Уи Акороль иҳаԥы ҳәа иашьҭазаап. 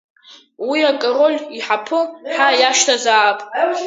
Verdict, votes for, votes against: accepted, 5, 0